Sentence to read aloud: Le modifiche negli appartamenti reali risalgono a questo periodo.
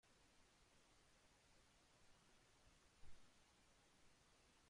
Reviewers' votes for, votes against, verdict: 0, 2, rejected